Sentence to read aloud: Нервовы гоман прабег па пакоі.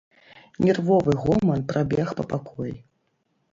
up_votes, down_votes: 2, 0